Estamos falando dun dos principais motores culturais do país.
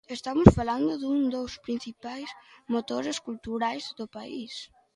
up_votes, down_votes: 2, 0